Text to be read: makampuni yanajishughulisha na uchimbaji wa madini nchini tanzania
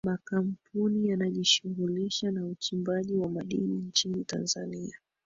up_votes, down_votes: 1, 2